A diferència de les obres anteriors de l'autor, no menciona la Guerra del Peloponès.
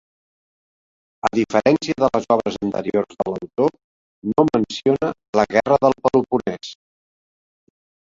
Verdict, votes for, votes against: accepted, 2, 0